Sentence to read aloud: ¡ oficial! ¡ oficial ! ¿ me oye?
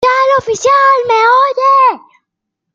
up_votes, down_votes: 0, 2